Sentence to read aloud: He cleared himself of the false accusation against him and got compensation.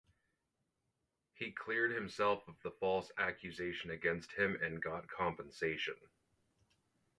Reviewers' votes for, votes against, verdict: 4, 0, accepted